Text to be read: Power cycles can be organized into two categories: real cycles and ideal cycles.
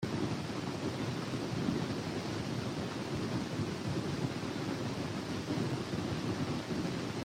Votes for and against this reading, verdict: 0, 3, rejected